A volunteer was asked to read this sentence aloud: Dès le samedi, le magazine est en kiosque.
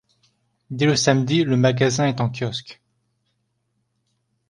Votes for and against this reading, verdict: 1, 2, rejected